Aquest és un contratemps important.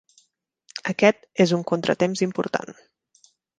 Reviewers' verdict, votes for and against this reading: accepted, 3, 0